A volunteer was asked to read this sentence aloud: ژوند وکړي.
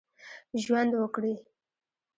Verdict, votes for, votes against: rejected, 1, 2